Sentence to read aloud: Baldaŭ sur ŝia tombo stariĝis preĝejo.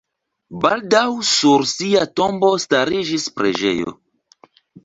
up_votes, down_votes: 1, 2